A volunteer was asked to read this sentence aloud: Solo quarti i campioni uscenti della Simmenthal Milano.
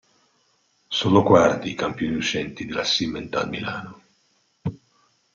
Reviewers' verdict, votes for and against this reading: rejected, 1, 2